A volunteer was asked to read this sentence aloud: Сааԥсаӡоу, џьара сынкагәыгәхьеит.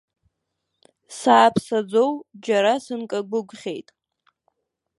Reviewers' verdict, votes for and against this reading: rejected, 0, 2